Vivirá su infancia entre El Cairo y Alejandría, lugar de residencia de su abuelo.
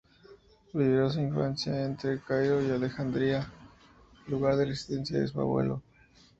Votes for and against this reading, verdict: 4, 2, accepted